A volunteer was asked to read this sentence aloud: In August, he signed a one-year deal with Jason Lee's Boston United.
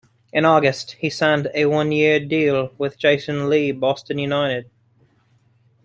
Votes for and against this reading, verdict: 2, 1, accepted